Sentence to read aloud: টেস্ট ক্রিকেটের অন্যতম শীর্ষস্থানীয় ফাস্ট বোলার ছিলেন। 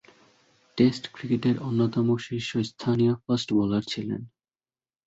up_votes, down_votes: 1, 2